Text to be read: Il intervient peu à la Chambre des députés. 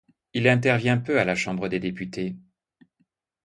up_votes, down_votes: 2, 0